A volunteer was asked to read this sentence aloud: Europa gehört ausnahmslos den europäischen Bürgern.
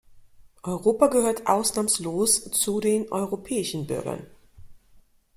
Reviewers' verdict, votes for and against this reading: rejected, 0, 2